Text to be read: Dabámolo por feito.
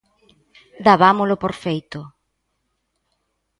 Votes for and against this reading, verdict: 2, 0, accepted